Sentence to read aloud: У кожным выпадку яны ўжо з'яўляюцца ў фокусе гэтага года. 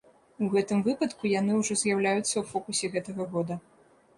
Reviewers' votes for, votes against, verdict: 1, 2, rejected